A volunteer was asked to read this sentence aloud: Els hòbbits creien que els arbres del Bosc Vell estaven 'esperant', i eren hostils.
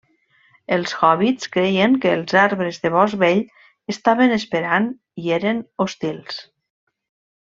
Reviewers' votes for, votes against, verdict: 1, 2, rejected